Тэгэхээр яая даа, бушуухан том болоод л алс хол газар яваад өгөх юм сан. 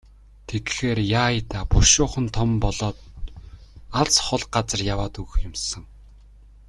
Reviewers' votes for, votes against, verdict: 0, 2, rejected